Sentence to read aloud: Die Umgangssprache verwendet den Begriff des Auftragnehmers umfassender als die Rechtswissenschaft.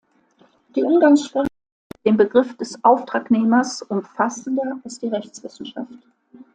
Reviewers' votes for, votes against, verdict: 0, 2, rejected